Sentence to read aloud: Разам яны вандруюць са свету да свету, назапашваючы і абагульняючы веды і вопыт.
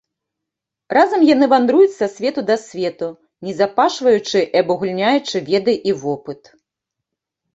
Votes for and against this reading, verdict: 0, 2, rejected